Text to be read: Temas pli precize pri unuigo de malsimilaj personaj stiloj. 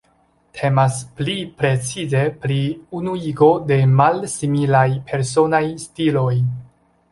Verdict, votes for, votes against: accepted, 2, 1